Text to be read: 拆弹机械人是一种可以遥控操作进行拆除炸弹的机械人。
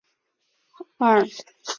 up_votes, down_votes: 0, 3